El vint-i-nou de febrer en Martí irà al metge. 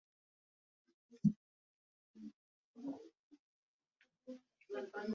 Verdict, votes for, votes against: rejected, 0, 2